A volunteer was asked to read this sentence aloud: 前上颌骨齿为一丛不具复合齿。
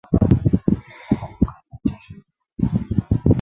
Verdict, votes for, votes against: rejected, 0, 2